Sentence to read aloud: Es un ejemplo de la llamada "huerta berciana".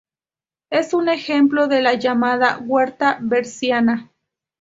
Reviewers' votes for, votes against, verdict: 2, 0, accepted